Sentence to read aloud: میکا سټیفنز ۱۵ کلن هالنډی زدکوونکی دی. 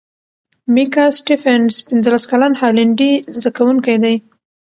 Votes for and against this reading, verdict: 0, 2, rejected